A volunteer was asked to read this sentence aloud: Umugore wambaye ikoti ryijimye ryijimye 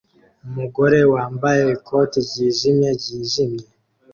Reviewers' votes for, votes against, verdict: 2, 1, accepted